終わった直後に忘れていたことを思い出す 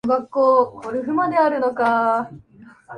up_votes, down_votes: 0, 8